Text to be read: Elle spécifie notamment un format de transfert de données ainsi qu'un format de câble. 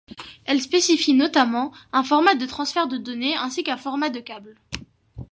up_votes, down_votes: 2, 0